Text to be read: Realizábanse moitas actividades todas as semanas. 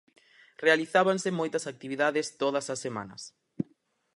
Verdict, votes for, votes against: accepted, 4, 0